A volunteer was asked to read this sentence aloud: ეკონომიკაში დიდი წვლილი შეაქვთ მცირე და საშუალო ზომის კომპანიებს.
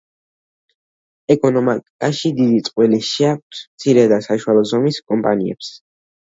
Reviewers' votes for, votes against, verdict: 0, 2, rejected